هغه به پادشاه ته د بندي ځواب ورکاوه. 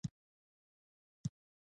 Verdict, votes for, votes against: rejected, 0, 2